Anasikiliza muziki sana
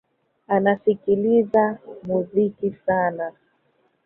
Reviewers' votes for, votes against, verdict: 0, 3, rejected